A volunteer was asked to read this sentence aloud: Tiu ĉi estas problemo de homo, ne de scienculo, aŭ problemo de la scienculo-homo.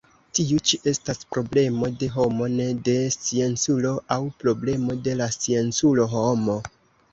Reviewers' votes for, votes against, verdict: 1, 2, rejected